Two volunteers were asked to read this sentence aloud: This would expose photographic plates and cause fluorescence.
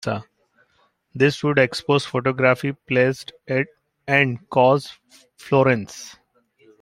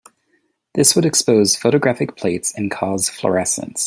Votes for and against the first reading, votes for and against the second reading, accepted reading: 0, 2, 2, 0, second